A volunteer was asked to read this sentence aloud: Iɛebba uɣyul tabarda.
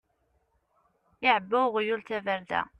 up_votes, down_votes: 2, 0